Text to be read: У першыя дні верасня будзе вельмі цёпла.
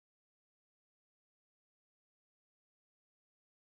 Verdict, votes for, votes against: rejected, 0, 2